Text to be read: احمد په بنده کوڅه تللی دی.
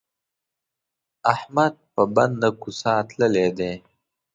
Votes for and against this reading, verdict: 1, 2, rejected